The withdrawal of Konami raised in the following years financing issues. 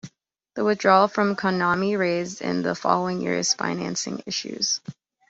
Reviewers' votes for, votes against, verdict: 1, 2, rejected